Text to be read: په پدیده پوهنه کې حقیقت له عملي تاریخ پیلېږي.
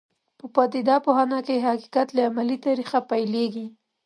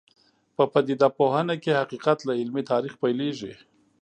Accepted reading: first